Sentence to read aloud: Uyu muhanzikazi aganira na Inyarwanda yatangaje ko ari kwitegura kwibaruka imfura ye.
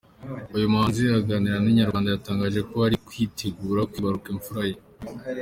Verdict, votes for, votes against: rejected, 1, 2